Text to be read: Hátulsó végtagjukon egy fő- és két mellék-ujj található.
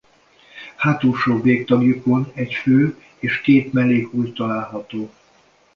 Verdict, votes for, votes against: accepted, 2, 0